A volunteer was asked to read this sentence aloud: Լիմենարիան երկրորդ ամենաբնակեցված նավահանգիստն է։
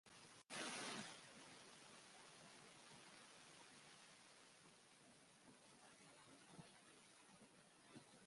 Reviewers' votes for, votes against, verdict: 0, 2, rejected